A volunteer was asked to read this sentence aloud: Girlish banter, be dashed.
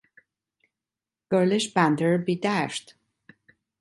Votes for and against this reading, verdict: 2, 1, accepted